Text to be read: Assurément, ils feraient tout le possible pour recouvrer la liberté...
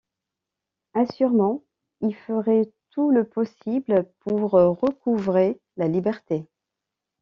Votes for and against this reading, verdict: 1, 2, rejected